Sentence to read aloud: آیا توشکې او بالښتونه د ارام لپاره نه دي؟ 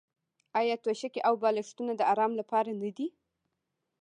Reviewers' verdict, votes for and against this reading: rejected, 0, 2